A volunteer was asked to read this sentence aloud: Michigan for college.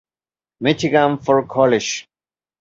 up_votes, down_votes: 2, 0